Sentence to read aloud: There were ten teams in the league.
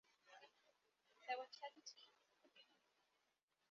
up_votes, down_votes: 0, 2